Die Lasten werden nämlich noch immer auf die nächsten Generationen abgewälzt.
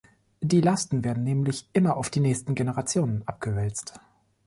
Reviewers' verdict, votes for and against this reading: rejected, 1, 2